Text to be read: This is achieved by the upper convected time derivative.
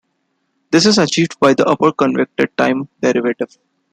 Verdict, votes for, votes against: accepted, 2, 0